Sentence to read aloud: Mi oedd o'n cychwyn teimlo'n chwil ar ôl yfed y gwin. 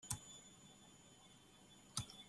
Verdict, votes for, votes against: rejected, 0, 2